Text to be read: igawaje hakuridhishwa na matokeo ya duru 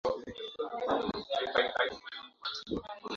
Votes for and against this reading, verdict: 0, 2, rejected